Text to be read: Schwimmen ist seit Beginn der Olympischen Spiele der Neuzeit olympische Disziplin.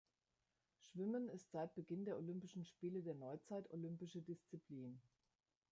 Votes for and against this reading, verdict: 2, 1, accepted